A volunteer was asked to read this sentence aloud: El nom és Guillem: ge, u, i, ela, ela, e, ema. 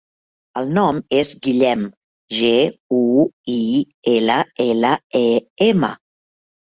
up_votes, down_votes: 2, 0